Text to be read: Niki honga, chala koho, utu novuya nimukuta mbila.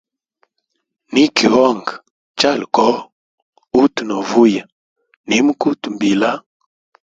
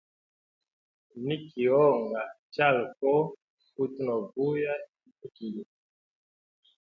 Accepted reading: first